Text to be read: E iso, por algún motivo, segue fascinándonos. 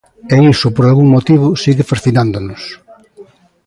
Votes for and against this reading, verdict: 0, 2, rejected